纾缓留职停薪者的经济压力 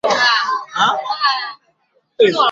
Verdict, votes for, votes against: rejected, 0, 3